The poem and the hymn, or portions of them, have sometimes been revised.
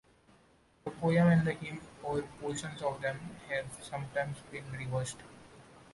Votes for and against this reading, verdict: 0, 2, rejected